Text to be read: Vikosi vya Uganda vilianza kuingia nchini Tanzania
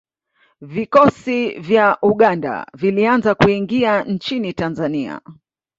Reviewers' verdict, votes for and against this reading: accepted, 2, 0